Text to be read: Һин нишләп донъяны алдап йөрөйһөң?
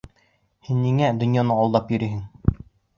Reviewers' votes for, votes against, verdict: 0, 3, rejected